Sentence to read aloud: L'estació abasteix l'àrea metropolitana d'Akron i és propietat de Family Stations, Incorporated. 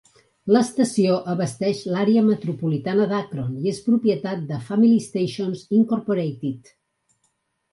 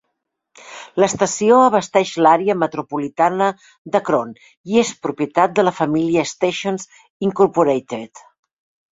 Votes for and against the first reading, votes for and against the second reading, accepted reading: 4, 0, 0, 2, first